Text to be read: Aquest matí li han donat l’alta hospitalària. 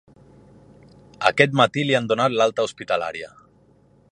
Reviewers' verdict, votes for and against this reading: accepted, 3, 0